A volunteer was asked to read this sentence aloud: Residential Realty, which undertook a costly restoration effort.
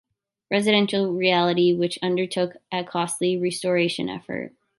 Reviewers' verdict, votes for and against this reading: rejected, 0, 2